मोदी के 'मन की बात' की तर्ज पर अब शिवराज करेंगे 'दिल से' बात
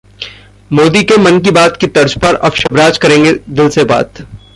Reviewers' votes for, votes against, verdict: 0, 2, rejected